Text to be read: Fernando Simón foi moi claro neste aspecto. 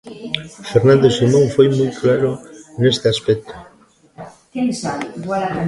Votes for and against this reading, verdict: 1, 2, rejected